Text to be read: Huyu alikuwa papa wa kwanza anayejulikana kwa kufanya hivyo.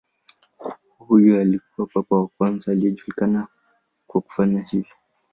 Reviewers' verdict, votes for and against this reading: rejected, 0, 2